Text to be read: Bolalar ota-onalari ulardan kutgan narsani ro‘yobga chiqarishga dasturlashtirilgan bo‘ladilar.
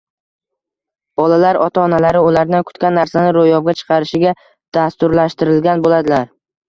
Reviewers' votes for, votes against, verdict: 2, 0, accepted